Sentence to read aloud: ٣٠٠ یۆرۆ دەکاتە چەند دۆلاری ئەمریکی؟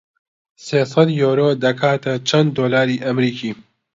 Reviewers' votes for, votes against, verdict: 0, 2, rejected